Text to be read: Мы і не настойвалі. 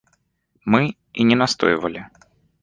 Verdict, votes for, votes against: accepted, 2, 0